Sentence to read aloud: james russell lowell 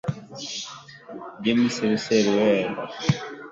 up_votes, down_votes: 1, 2